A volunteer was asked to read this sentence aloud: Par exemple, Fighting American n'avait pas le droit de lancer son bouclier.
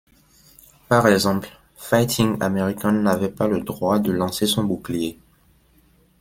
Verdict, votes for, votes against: accepted, 2, 0